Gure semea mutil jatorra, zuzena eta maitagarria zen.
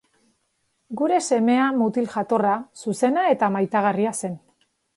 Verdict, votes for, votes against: accepted, 3, 0